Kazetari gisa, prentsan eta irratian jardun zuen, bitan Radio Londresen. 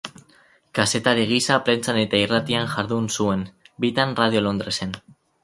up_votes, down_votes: 4, 0